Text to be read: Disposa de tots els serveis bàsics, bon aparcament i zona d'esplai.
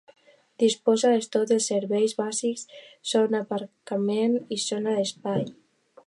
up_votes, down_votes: 0, 2